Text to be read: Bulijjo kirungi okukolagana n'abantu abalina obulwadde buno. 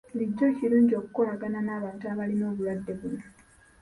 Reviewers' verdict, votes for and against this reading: accepted, 2, 0